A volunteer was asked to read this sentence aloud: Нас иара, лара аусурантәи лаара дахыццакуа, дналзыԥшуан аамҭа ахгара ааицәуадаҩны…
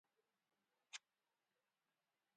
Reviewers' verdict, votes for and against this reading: rejected, 1, 2